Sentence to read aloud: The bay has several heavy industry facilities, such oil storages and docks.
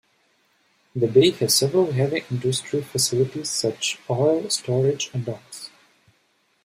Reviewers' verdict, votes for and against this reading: rejected, 1, 2